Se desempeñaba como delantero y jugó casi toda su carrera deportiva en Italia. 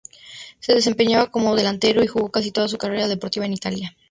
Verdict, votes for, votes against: accepted, 2, 0